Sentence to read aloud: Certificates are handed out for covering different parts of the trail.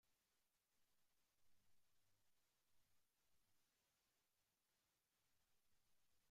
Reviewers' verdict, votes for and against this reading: rejected, 0, 3